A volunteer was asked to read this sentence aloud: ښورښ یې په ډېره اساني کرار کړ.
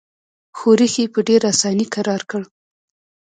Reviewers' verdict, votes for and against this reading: accepted, 3, 2